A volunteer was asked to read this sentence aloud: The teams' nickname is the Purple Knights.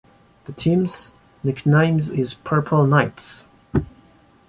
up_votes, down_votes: 0, 2